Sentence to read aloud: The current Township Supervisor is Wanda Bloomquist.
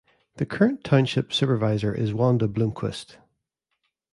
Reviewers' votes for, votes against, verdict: 2, 0, accepted